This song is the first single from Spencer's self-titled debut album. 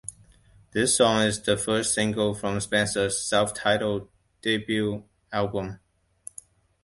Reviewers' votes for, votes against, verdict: 2, 0, accepted